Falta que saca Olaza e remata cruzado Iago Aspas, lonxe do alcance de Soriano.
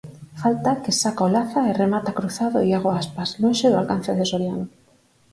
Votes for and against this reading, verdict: 4, 2, accepted